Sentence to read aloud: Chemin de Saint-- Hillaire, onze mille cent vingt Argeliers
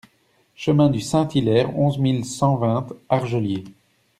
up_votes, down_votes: 0, 2